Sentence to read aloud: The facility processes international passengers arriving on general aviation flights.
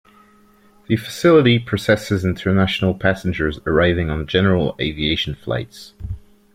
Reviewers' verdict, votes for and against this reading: accepted, 2, 0